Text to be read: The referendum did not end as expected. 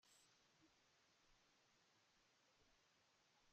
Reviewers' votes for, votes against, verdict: 0, 2, rejected